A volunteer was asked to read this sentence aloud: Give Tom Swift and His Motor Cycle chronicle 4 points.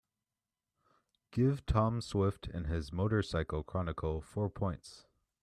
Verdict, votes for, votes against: rejected, 0, 2